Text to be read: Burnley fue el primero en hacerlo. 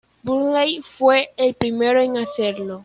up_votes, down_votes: 0, 2